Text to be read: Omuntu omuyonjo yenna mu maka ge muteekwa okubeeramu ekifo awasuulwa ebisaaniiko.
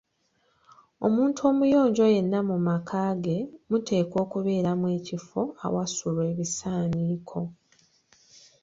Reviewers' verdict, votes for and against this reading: accepted, 2, 1